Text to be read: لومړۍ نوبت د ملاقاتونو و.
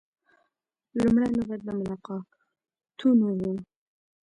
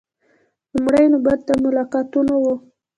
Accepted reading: second